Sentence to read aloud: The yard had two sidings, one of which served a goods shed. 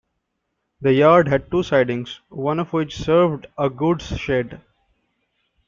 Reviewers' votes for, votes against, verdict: 2, 0, accepted